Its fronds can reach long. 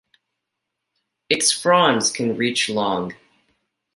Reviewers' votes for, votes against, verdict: 2, 0, accepted